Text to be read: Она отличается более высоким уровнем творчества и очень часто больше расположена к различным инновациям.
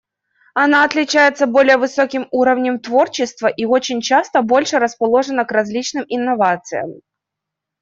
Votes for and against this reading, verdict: 2, 1, accepted